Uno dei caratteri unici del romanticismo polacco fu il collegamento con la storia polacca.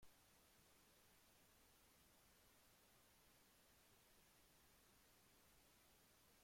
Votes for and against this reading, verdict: 0, 2, rejected